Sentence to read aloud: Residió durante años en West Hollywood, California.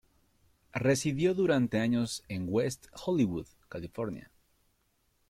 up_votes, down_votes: 2, 0